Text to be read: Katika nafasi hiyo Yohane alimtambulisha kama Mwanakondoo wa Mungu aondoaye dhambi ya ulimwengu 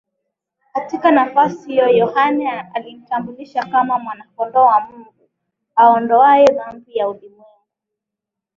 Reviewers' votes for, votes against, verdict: 2, 2, rejected